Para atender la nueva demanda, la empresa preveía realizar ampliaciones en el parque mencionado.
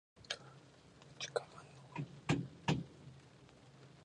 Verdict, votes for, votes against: rejected, 0, 4